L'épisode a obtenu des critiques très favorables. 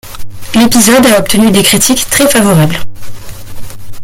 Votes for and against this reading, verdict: 1, 2, rejected